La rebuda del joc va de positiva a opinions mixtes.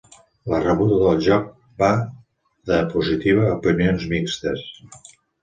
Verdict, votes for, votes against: accepted, 2, 0